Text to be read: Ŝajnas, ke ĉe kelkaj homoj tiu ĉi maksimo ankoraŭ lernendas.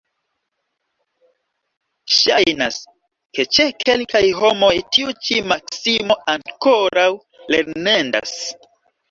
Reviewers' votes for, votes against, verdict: 2, 0, accepted